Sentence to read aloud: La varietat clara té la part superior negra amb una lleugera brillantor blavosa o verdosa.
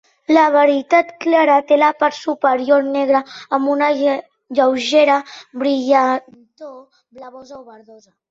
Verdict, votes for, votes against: rejected, 1, 2